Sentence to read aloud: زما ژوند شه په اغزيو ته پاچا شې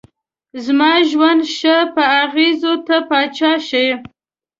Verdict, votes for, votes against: accepted, 2, 0